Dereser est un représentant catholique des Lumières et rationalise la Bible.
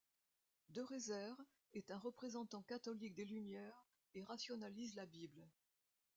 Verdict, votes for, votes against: rejected, 0, 2